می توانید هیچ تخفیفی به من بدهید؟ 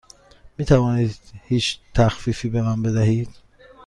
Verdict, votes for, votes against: accepted, 2, 0